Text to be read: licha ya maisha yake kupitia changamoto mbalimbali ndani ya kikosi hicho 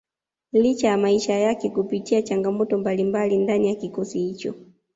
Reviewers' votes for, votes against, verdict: 2, 0, accepted